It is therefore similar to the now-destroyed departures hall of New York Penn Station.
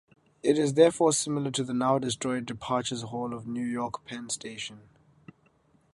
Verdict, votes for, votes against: accepted, 2, 0